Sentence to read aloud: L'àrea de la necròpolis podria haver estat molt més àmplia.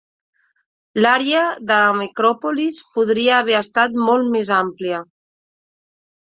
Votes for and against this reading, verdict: 0, 2, rejected